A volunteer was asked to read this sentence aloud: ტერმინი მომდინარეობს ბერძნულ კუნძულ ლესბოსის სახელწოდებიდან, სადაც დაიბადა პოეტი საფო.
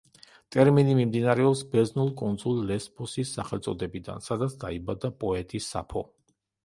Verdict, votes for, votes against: rejected, 0, 2